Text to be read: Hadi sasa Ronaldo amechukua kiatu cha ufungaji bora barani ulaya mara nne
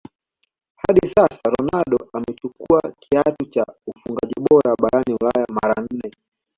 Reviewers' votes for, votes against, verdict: 2, 0, accepted